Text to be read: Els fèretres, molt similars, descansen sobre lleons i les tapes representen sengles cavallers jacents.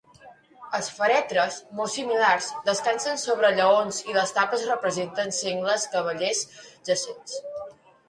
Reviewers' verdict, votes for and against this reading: accepted, 2, 0